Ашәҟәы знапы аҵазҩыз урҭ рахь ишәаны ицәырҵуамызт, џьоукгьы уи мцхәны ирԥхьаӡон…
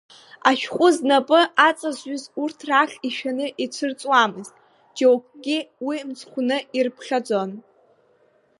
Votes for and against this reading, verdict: 1, 2, rejected